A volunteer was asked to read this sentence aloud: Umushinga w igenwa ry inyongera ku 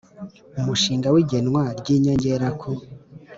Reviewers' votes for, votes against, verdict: 2, 0, accepted